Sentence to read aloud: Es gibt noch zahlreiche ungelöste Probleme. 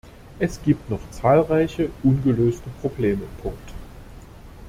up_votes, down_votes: 0, 2